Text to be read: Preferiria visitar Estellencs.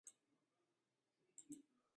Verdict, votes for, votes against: rejected, 0, 2